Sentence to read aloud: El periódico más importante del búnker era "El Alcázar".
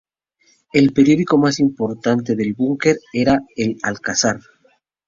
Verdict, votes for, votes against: accepted, 2, 0